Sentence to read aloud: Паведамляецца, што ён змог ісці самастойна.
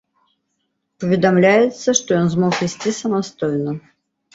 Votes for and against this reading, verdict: 2, 0, accepted